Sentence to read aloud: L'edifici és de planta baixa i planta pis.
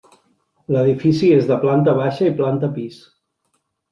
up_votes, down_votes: 3, 0